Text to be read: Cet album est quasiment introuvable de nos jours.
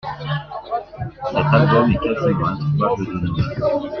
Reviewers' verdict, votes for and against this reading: accepted, 2, 1